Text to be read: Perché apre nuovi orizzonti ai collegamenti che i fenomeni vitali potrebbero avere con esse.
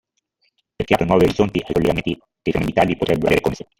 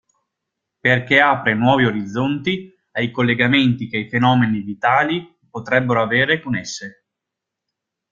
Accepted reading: second